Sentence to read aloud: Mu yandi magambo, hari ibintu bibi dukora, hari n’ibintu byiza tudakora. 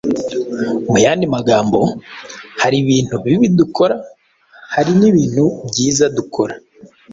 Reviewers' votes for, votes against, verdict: 3, 0, accepted